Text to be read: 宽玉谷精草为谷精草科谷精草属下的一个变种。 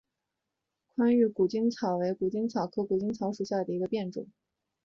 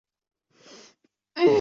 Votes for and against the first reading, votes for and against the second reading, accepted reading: 3, 0, 0, 2, first